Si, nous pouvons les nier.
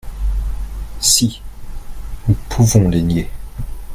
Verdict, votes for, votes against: accepted, 2, 0